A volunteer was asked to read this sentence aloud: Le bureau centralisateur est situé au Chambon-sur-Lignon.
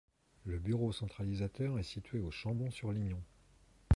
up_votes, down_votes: 2, 0